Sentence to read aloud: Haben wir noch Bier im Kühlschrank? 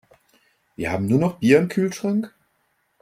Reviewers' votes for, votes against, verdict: 1, 2, rejected